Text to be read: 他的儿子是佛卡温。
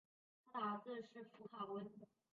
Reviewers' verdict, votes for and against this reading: rejected, 0, 3